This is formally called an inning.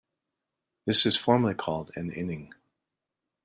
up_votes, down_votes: 2, 0